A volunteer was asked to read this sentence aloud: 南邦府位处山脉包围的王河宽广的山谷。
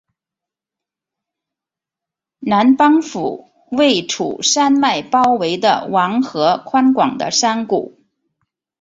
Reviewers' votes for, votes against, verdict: 3, 0, accepted